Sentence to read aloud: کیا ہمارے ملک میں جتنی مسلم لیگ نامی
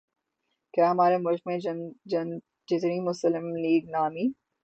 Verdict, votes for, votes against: rejected, 0, 3